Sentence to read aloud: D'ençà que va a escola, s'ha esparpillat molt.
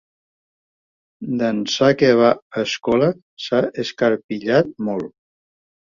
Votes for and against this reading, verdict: 1, 2, rejected